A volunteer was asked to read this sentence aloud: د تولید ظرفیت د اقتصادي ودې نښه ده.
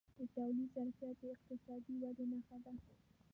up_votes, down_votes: 1, 2